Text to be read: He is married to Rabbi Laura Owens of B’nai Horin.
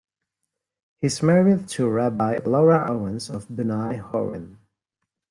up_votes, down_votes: 0, 2